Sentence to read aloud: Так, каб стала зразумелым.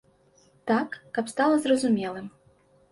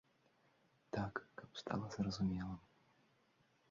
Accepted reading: first